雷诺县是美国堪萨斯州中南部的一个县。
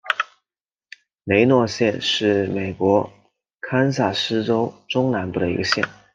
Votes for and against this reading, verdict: 2, 0, accepted